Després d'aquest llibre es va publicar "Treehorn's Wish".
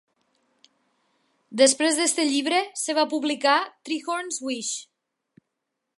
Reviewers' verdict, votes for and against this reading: rejected, 1, 2